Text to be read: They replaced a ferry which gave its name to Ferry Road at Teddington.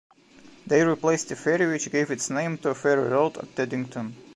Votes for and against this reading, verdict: 2, 0, accepted